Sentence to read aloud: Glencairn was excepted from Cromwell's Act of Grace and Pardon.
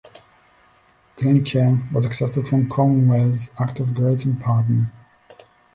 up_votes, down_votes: 1, 2